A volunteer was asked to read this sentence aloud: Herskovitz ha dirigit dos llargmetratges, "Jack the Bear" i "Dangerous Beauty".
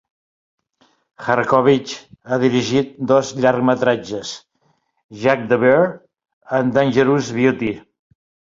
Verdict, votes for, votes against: rejected, 2, 3